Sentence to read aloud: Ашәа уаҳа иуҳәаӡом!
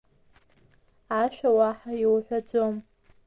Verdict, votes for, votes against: rejected, 1, 2